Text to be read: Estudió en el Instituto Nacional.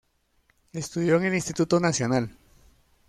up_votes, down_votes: 2, 0